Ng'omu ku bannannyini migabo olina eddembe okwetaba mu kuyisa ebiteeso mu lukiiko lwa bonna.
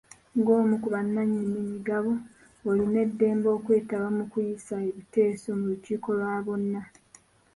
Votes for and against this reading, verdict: 3, 1, accepted